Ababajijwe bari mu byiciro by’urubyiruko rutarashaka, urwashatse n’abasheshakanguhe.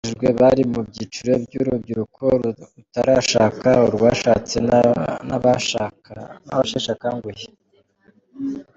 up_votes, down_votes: 1, 2